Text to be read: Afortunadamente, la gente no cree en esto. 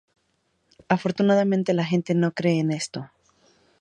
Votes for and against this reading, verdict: 2, 0, accepted